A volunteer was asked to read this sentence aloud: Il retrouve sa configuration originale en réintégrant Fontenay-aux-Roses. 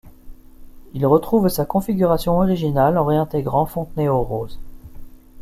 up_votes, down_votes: 2, 0